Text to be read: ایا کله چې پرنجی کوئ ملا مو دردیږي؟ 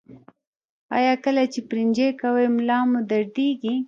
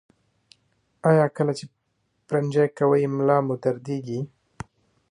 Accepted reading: second